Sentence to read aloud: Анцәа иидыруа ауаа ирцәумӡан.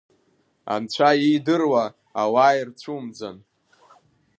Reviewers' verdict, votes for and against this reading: rejected, 1, 2